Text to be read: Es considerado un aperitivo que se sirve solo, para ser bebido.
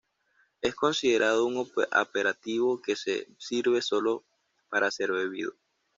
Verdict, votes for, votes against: rejected, 0, 2